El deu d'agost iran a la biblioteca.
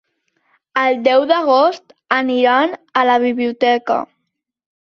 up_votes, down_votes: 0, 2